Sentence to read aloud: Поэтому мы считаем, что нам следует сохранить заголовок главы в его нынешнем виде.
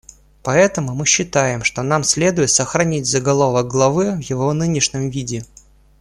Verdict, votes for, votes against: accepted, 2, 0